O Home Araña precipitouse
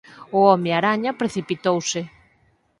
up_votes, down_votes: 4, 0